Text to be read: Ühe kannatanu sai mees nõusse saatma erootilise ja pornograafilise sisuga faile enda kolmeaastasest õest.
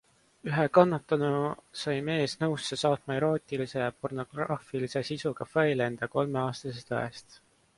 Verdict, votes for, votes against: accepted, 2, 0